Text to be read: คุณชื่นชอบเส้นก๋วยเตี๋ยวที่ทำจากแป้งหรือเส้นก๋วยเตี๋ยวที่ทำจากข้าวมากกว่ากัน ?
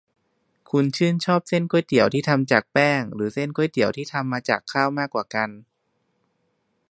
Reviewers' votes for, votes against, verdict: 1, 2, rejected